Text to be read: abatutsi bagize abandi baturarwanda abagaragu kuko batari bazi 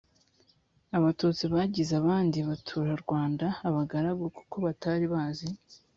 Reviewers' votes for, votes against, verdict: 3, 0, accepted